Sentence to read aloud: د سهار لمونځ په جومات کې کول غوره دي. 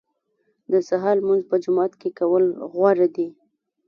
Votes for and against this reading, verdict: 2, 0, accepted